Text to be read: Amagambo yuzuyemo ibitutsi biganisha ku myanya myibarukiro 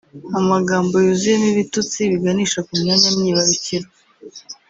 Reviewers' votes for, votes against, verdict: 0, 2, rejected